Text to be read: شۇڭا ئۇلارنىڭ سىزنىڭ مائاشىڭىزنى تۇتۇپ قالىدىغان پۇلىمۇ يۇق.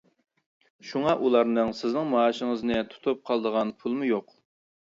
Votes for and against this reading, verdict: 0, 2, rejected